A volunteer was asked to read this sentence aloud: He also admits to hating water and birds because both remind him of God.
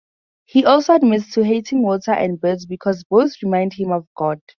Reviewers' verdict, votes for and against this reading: accepted, 4, 0